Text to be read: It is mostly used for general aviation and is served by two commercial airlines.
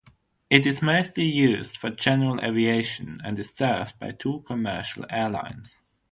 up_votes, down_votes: 6, 0